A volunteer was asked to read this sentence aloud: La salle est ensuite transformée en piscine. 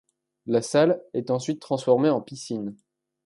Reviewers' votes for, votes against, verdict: 2, 0, accepted